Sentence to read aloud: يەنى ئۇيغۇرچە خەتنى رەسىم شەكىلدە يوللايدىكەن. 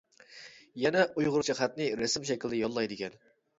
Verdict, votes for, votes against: rejected, 1, 2